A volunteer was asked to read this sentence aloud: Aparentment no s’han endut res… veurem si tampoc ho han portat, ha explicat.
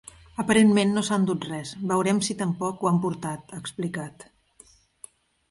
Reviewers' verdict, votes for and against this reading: rejected, 1, 2